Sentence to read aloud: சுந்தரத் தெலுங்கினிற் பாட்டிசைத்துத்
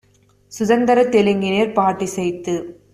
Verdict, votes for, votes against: rejected, 1, 2